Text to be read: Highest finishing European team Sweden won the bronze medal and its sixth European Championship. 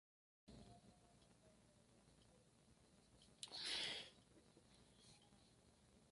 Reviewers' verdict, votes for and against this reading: rejected, 0, 2